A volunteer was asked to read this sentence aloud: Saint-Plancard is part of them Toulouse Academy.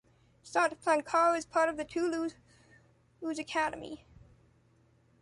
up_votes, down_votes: 0, 2